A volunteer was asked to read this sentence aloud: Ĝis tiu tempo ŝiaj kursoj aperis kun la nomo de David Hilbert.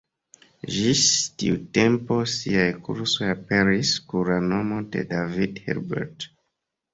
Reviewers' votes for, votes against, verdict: 0, 2, rejected